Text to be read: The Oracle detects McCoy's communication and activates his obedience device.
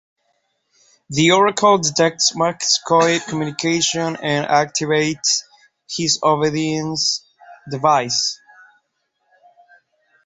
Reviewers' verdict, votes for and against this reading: rejected, 4, 5